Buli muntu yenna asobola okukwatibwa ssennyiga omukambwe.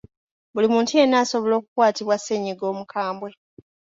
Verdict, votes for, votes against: accepted, 2, 1